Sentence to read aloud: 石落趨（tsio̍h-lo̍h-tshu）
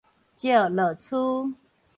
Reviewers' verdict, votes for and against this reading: rejected, 0, 4